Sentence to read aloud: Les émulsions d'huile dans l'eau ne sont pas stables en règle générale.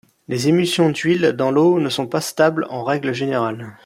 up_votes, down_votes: 2, 0